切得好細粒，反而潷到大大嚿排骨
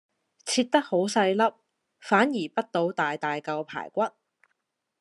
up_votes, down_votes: 2, 0